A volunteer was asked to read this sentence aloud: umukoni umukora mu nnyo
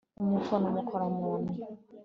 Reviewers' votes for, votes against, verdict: 2, 0, accepted